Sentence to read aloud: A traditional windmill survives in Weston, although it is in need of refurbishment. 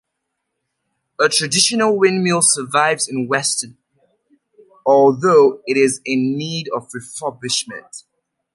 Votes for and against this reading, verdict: 2, 0, accepted